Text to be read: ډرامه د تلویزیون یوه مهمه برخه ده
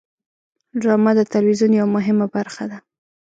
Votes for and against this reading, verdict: 2, 0, accepted